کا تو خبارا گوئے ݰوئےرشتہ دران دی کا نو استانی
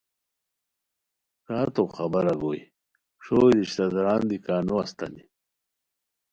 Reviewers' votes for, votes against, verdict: 3, 0, accepted